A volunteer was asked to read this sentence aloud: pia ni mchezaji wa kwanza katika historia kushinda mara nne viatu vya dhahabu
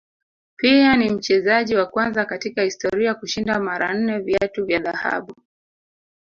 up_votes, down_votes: 0, 2